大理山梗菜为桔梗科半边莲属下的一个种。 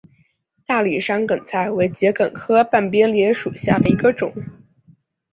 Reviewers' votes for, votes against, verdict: 1, 2, rejected